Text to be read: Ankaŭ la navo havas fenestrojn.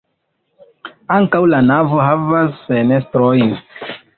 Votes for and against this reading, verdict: 1, 2, rejected